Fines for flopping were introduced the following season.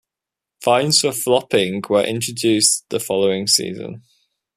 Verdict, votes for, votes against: accepted, 2, 0